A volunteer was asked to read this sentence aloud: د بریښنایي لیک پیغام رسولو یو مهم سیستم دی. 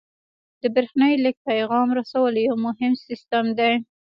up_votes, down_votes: 2, 0